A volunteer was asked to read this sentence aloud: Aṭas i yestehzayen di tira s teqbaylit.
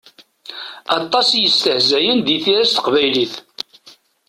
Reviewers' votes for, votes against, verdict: 2, 0, accepted